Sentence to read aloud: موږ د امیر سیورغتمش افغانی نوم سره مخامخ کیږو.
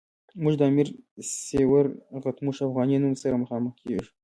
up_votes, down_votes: 2, 1